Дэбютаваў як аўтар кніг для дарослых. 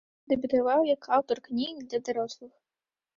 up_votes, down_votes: 2, 0